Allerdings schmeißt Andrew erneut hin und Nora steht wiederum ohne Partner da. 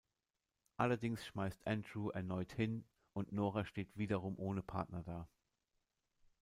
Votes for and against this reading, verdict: 2, 0, accepted